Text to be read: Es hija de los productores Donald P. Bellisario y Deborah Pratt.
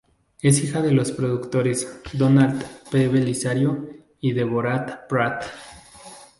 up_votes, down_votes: 0, 2